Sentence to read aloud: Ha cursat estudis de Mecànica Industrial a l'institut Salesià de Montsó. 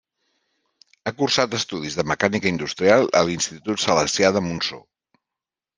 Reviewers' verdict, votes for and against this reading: rejected, 0, 2